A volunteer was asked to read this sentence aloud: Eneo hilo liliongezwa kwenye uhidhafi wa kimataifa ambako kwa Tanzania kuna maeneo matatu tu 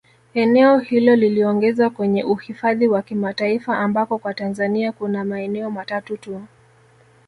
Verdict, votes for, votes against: accepted, 2, 0